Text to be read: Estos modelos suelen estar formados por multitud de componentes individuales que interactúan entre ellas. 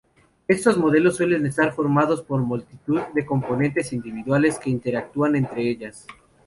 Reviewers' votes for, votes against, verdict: 0, 2, rejected